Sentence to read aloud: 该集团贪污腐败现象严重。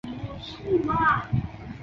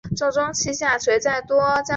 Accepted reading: first